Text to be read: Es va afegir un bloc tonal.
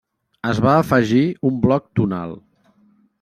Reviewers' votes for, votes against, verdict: 0, 2, rejected